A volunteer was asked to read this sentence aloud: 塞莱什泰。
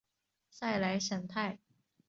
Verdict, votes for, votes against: accepted, 3, 0